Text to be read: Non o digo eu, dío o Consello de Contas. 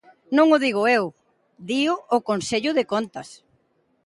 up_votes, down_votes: 2, 0